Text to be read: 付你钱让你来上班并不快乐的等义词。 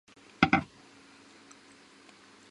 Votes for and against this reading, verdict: 0, 2, rejected